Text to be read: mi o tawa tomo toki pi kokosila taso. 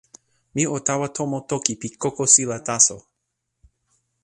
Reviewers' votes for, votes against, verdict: 2, 0, accepted